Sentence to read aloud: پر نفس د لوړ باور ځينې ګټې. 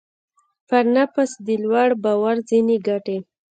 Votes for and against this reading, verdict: 1, 2, rejected